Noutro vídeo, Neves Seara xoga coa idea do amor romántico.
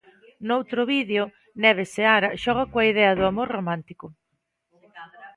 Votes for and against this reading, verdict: 2, 0, accepted